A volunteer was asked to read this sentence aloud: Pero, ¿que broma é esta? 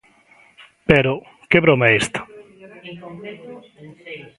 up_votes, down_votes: 0, 2